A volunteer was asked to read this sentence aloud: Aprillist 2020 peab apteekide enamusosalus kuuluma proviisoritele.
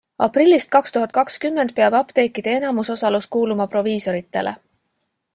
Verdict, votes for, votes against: rejected, 0, 2